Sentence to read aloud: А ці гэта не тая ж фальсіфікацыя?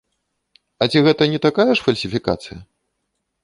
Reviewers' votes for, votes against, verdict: 0, 2, rejected